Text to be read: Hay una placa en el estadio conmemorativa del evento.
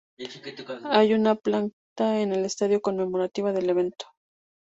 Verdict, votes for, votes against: rejected, 0, 2